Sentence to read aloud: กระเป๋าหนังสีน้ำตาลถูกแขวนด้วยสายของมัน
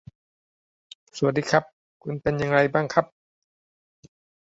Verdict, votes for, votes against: rejected, 0, 2